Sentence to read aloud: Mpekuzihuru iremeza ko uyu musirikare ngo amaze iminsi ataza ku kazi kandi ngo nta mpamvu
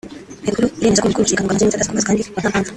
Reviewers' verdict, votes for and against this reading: rejected, 0, 2